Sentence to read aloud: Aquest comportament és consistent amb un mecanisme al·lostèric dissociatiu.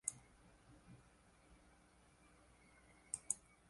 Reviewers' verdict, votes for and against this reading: rejected, 1, 2